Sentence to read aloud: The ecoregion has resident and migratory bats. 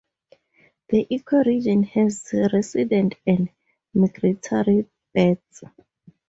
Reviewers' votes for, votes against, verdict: 2, 0, accepted